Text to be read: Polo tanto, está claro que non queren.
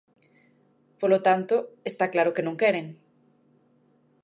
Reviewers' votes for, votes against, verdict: 2, 0, accepted